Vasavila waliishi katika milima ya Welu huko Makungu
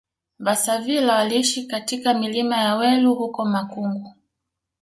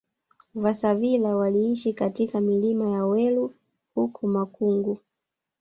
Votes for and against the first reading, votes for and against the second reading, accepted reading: 2, 1, 1, 2, first